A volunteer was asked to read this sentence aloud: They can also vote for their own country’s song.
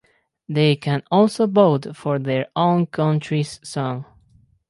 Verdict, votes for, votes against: accepted, 2, 0